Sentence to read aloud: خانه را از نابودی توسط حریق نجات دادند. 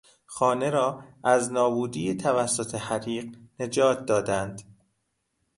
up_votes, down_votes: 0, 2